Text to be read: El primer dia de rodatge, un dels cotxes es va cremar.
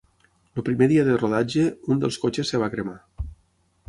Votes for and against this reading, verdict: 0, 6, rejected